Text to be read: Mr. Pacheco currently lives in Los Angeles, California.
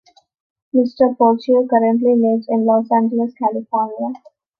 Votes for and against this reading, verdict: 2, 0, accepted